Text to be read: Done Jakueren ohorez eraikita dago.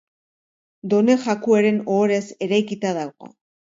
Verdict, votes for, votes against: accepted, 2, 0